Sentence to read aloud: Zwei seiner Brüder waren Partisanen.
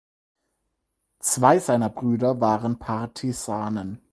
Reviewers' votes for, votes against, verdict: 4, 0, accepted